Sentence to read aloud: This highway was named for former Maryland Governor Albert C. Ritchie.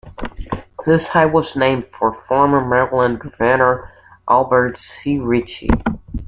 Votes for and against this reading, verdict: 2, 1, accepted